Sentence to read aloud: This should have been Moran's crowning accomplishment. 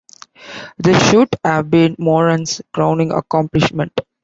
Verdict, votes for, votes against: accepted, 2, 1